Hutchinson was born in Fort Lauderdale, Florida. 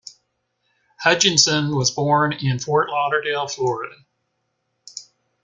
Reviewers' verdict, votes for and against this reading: accepted, 2, 0